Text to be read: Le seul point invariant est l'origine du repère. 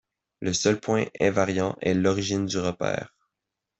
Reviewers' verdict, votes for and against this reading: accepted, 2, 0